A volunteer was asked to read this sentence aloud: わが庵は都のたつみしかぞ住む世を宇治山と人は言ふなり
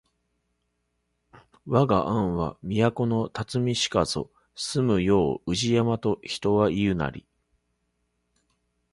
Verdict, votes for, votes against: rejected, 0, 2